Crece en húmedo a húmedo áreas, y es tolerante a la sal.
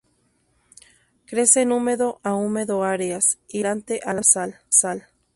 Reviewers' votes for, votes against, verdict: 0, 2, rejected